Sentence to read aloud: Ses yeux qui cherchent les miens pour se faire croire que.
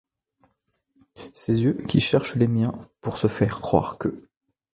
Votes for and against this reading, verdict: 3, 0, accepted